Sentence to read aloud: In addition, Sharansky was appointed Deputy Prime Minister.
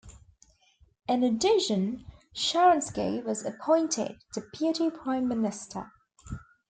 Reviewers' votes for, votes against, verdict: 2, 0, accepted